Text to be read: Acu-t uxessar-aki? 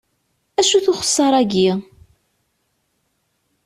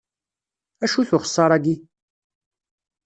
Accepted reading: first